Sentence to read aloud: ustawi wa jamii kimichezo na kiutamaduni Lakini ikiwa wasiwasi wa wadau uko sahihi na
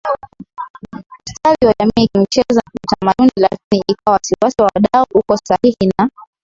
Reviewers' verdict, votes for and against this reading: rejected, 1, 4